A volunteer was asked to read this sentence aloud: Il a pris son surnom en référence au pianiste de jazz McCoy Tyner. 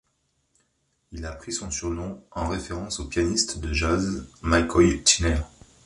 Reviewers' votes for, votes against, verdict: 3, 0, accepted